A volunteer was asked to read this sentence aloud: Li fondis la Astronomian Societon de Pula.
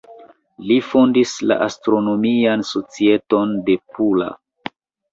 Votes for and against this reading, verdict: 2, 1, accepted